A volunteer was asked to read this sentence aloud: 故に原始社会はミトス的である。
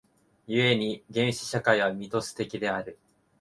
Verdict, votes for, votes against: accepted, 2, 1